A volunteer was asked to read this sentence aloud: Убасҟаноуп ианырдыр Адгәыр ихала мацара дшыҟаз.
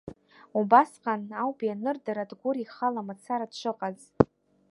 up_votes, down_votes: 2, 0